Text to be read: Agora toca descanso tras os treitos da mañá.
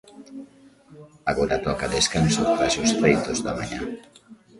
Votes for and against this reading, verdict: 1, 2, rejected